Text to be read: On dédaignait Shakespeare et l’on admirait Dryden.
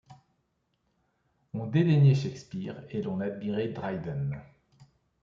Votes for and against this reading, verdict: 2, 0, accepted